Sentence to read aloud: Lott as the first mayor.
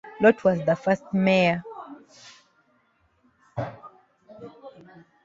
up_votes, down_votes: 0, 2